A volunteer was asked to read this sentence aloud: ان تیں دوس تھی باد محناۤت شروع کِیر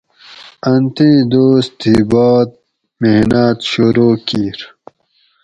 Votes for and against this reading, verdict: 4, 0, accepted